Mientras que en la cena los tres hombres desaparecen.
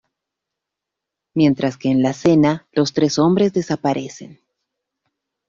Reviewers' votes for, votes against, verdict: 2, 0, accepted